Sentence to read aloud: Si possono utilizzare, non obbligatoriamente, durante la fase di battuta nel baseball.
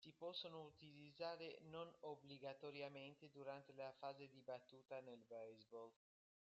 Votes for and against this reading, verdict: 1, 2, rejected